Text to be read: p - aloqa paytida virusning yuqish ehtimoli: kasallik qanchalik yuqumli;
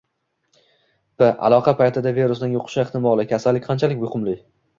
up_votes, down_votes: 2, 1